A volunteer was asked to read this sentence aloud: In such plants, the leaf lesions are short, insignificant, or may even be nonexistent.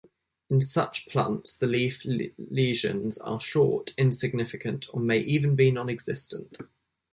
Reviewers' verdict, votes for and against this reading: rejected, 0, 2